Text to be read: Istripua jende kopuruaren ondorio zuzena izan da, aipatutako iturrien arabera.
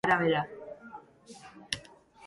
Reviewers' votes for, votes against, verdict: 0, 2, rejected